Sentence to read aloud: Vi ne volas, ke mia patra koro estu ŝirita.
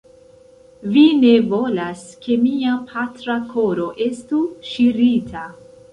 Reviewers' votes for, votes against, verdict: 2, 0, accepted